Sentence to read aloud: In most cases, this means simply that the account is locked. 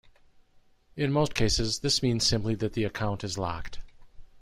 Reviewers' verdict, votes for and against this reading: accepted, 2, 0